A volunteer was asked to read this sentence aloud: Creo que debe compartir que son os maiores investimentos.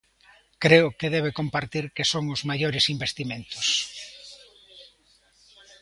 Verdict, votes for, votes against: rejected, 1, 2